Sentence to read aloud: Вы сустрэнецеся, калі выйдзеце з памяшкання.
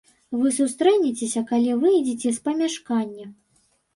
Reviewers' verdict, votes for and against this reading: accepted, 3, 0